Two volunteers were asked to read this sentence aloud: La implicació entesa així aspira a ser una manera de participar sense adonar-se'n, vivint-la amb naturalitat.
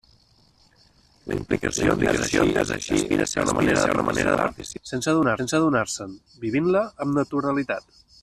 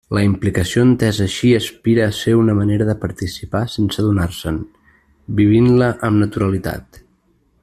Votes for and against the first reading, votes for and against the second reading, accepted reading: 0, 2, 2, 0, second